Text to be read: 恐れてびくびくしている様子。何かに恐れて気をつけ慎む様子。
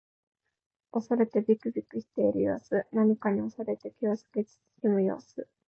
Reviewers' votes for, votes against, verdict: 1, 2, rejected